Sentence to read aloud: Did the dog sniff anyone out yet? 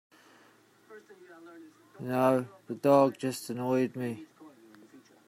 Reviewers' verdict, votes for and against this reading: rejected, 0, 2